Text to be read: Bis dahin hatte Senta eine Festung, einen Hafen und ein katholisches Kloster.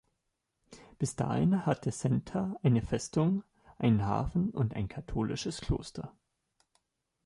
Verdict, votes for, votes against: accepted, 2, 0